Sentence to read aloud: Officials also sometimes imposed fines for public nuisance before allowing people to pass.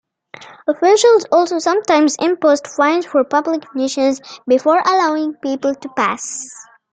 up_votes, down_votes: 2, 0